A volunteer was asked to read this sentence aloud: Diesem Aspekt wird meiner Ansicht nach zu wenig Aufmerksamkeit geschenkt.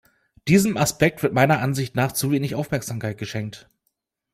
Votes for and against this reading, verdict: 2, 0, accepted